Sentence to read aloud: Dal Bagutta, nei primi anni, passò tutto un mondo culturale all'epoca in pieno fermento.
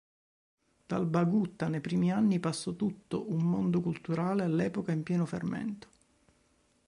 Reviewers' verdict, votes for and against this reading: accepted, 2, 0